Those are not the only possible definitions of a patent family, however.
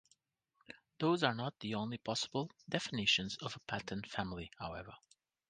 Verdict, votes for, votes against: rejected, 0, 2